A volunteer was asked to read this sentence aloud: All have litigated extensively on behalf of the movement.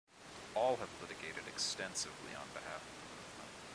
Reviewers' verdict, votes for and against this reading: rejected, 0, 2